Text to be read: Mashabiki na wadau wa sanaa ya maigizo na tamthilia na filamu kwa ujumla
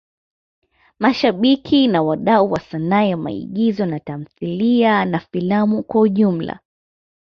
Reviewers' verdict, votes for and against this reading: accepted, 2, 0